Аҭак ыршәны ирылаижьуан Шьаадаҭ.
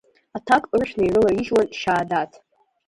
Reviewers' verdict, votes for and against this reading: rejected, 0, 2